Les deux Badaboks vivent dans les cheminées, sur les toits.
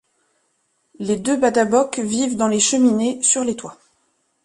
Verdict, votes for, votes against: accepted, 2, 0